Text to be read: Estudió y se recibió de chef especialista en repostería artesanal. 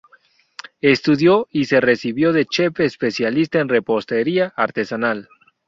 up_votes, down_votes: 2, 0